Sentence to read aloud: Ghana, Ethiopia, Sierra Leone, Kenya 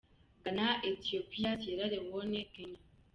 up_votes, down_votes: 2, 0